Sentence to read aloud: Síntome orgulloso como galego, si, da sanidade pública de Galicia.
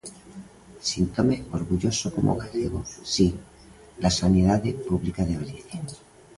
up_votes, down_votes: 2, 0